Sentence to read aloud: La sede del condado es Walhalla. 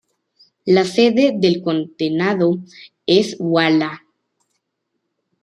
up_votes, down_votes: 0, 2